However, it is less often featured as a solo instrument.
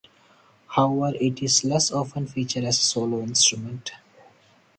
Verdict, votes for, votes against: rejected, 2, 2